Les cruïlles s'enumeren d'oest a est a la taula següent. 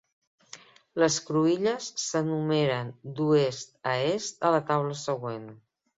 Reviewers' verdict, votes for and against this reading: accepted, 2, 0